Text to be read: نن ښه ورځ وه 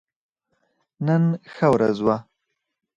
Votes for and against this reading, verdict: 0, 4, rejected